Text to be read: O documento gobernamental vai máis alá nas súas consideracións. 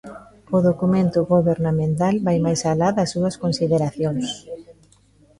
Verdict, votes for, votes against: rejected, 0, 2